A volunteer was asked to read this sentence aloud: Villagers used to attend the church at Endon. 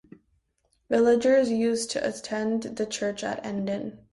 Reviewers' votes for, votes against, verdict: 2, 0, accepted